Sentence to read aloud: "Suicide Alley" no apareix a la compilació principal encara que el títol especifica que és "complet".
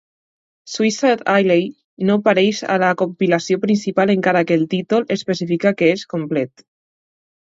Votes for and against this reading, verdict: 2, 0, accepted